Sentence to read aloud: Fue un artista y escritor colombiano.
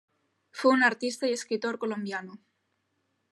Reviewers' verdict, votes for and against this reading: accepted, 2, 0